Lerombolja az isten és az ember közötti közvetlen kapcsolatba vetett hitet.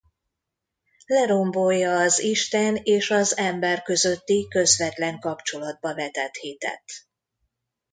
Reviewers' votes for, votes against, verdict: 2, 0, accepted